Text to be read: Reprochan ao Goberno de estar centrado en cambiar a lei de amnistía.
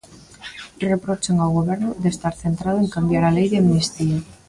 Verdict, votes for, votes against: rejected, 1, 2